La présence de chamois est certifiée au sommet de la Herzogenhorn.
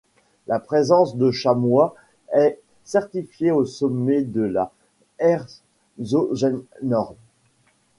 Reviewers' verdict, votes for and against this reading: rejected, 0, 2